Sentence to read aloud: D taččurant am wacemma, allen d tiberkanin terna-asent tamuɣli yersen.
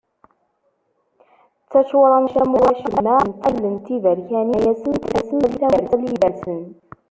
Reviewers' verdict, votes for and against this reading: rejected, 0, 2